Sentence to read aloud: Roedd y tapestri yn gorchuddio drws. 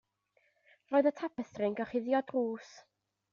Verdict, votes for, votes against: accepted, 2, 0